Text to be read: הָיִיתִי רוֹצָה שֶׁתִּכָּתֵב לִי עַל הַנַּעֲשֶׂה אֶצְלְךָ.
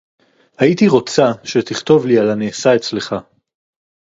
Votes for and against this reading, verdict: 4, 0, accepted